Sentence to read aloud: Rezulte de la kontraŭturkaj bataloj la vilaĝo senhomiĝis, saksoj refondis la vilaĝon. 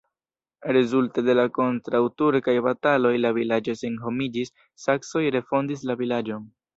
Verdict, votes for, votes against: rejected, 0, 2